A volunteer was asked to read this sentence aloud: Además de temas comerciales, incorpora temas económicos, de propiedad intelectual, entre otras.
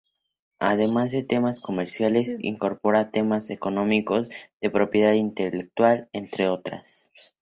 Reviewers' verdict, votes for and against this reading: accepted, 2, 0